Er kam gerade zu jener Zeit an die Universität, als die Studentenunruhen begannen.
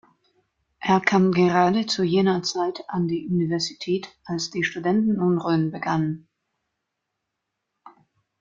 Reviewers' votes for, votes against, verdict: 2, 0, accepted